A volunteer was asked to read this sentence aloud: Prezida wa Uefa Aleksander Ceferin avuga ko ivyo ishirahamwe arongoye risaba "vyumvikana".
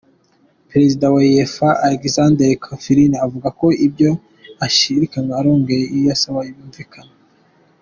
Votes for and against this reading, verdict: 2, 1, accepted